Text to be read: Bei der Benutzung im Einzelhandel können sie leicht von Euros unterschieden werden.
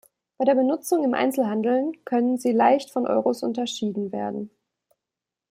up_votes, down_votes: 2, 0